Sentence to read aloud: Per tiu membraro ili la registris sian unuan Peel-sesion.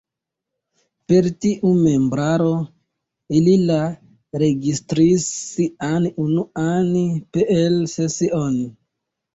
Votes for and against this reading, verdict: 2, 1, accepted